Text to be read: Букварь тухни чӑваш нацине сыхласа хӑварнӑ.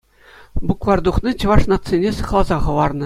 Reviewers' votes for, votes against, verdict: 2, 0, accepted